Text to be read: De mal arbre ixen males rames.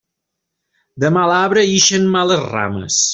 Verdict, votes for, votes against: accepted, 2, 0